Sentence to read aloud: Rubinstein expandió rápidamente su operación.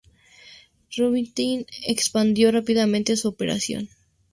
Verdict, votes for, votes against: accepted, 2, 0